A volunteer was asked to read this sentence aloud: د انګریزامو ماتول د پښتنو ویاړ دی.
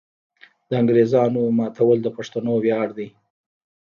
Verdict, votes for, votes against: rejected, 0, 2